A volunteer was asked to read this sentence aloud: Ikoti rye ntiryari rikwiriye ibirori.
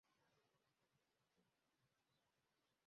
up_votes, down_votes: 0, 2